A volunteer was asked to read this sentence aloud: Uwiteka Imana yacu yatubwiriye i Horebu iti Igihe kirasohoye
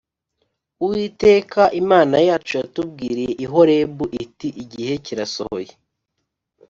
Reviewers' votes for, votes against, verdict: 2, 0, accepted